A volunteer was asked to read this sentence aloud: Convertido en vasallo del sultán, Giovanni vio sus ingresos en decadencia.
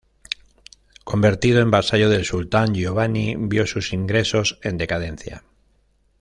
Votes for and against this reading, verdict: 2, 0, accepted